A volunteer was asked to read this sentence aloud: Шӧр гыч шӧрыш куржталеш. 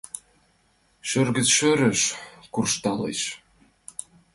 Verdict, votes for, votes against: accepted, 2, 1